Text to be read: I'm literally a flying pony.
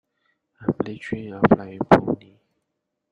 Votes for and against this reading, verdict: 1, 2, rejected